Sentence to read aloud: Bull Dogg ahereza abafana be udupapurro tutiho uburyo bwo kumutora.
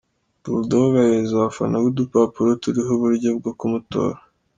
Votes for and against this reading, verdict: 1, 2, rejected